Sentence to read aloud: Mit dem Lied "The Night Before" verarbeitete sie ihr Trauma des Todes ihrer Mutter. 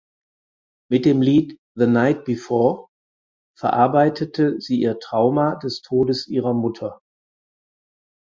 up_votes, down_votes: 6, 0